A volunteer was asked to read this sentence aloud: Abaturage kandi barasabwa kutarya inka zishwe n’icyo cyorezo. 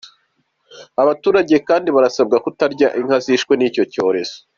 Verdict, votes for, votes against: accepted, 2, 1